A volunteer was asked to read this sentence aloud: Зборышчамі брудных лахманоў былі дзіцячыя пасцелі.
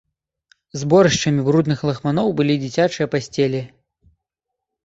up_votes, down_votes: 2, 0